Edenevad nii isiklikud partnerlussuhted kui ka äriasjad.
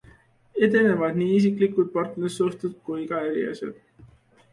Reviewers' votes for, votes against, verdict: 2, 0, accepted